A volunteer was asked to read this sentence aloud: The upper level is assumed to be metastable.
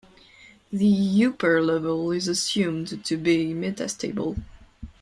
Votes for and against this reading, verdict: 1, 2, rejected